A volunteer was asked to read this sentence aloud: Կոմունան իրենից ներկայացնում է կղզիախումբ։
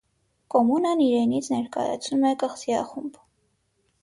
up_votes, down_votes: 6, 0